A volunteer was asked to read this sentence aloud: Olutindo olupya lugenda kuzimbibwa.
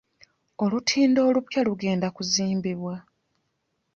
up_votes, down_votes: 2, 0